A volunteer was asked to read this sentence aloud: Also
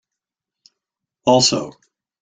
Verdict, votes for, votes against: rejected, 1, 2